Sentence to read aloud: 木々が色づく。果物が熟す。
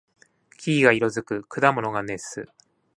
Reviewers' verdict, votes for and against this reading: rejected, 1, 2